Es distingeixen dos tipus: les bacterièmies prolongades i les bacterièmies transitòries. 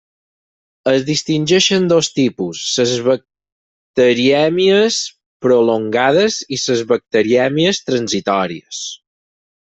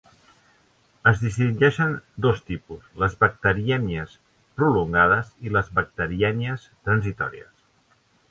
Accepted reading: second